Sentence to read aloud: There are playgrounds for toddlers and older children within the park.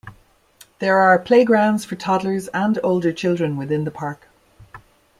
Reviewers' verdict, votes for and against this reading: accepted, 2, 0